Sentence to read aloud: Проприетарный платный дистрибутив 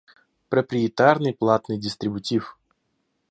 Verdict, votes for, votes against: accepted, 2, 0